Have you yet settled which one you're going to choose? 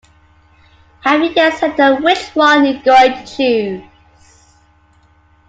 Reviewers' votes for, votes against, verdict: 2, 1, accepted